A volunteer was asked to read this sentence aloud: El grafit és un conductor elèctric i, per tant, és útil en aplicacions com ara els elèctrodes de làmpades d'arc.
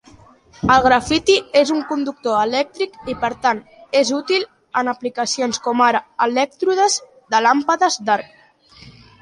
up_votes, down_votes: 1, 2